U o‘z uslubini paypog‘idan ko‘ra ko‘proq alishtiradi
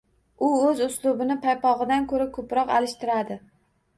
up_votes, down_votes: 2, 0